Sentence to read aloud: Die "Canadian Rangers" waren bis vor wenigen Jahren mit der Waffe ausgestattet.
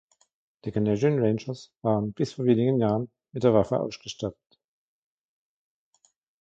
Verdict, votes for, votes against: accepted, 2, 1